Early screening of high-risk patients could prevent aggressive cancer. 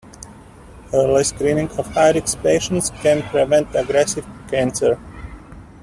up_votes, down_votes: 1, 2